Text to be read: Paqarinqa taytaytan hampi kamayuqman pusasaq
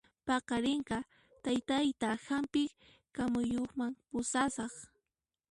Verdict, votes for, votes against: accepted, 2, 1